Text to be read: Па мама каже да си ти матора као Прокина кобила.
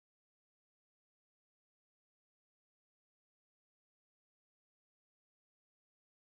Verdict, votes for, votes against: rejected, 0, 2